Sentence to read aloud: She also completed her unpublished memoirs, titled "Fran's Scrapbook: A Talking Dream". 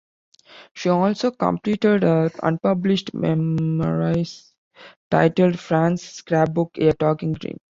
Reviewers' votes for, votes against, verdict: 1, 2, rejected